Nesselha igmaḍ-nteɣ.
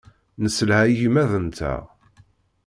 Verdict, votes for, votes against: accepted, 2, 0